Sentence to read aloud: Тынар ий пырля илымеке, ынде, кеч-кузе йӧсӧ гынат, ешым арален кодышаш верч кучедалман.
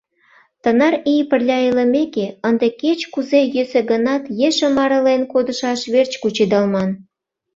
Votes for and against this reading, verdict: 2, 0, accepted